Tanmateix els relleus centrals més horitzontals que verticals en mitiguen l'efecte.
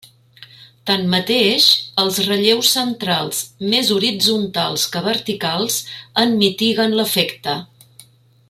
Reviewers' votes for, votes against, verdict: 0, 2, rejected